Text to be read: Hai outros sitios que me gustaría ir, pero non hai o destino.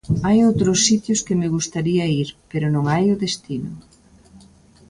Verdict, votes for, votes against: accepted, 2, 0